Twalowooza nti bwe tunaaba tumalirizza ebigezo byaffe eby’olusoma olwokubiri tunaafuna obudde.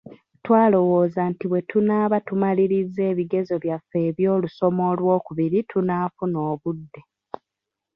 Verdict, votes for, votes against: accepted, 2, 1